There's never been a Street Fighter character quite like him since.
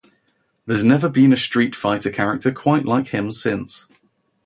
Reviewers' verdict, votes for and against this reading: accepted, 2, 0